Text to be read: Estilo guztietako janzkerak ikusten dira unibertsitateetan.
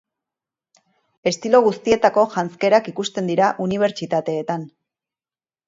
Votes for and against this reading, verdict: 2, 0, accepted